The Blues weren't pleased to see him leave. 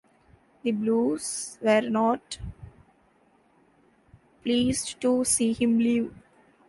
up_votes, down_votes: 1, 2